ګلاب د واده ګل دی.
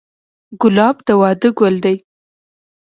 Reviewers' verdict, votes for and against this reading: accepted, 2, 0